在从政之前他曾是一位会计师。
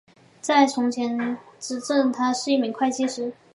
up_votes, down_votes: 1, 2